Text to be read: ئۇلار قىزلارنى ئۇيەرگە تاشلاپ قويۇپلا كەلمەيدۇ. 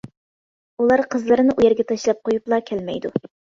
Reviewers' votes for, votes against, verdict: 0, 2, rejected